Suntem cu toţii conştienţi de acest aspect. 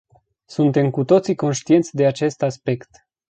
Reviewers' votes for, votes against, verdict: 2, 0, accepted